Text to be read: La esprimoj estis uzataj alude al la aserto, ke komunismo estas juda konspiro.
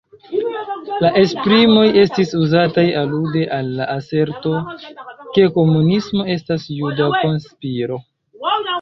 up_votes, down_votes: 1, 2